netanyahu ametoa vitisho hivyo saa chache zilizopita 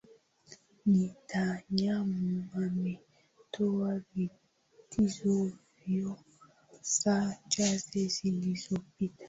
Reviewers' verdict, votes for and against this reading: accepted, 2, 1